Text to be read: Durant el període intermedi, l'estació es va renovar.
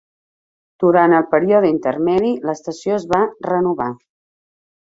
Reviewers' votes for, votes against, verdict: 0, 2, rejected